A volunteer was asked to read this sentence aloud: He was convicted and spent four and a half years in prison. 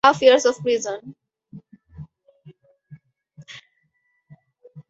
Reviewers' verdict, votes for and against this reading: rejected, 0, 2